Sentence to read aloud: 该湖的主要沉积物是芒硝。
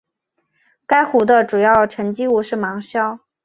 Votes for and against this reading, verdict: 3, 0, accepted